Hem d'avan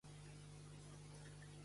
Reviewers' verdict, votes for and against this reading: rejected, 0, 2